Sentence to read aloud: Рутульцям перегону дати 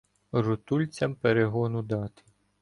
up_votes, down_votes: 1, 2